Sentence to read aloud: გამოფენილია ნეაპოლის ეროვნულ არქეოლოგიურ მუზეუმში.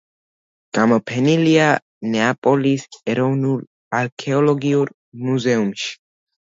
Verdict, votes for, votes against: rejected, 0, 2